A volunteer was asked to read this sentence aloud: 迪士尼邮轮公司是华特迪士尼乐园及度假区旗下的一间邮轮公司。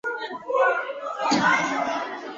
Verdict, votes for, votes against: rejected, 1, 2